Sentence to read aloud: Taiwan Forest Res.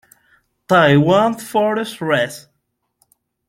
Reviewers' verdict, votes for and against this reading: rejected, 1, 2